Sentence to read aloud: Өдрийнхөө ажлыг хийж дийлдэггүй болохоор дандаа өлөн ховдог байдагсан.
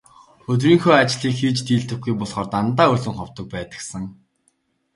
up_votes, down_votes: 2, 1